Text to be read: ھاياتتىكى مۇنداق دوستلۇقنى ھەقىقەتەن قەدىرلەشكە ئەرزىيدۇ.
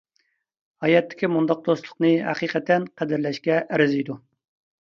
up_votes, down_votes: 2, 0